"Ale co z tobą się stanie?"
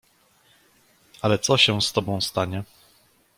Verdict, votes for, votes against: rejected, 0, 2